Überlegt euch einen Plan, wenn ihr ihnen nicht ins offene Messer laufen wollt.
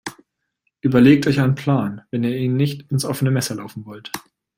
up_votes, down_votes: 2, 0